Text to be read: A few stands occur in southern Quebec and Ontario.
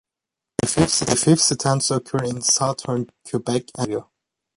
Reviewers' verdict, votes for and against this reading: rejected, 0, 2